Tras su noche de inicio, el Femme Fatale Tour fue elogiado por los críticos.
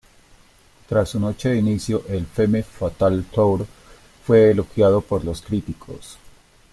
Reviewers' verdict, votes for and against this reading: rejected, 0, 2